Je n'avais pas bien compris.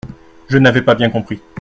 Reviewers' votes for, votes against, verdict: 2, 0, accepted